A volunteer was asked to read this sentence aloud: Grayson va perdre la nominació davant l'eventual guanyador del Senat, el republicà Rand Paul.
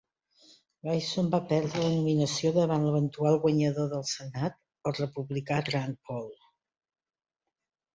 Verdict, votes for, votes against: rejected, 1, 2